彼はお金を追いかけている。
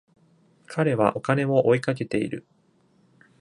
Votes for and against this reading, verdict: 2, 0, accepted